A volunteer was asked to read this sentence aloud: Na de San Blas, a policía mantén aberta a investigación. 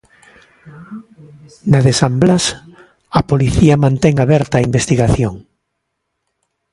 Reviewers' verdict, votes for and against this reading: accepted, 2, 0